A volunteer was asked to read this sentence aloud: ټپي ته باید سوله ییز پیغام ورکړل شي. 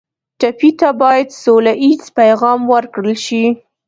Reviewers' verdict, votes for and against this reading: accepted, 2, 0